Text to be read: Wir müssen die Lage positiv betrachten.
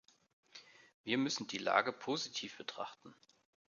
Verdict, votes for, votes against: accepted, 2, 0